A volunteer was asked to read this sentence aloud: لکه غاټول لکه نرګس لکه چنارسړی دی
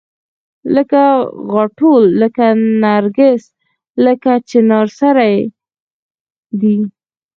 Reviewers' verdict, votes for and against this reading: rejected, 2, 4